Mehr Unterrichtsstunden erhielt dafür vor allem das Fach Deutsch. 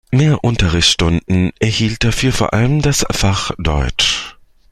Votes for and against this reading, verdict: 2, 0, accepted